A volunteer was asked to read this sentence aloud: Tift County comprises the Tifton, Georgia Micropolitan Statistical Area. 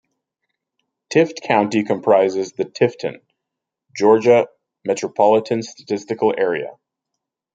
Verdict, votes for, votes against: rejected, 0, 2